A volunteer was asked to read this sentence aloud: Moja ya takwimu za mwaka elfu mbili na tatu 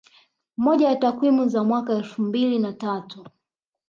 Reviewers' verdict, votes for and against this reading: accepted, 5, 0